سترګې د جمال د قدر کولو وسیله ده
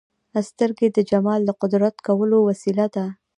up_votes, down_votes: 2, 0